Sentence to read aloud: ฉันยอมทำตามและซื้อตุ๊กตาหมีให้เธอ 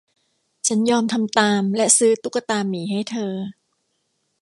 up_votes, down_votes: 2, 0